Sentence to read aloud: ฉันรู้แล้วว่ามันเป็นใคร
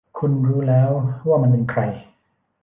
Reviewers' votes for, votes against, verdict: 0, 2, rejected